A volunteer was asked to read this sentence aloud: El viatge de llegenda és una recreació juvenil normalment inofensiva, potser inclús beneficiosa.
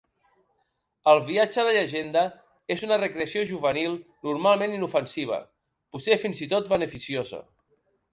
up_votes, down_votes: 1, 2